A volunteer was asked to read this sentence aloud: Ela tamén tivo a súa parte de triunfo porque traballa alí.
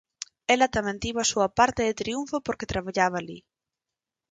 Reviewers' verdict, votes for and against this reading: rejected, 2, 4